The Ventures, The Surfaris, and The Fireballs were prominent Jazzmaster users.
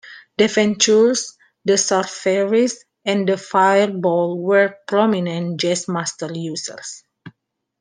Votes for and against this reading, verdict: 2, 1, accepted